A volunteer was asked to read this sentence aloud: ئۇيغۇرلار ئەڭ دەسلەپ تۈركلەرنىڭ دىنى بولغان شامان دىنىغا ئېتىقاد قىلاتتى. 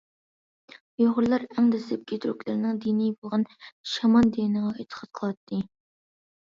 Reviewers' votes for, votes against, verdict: 0, 2, rejected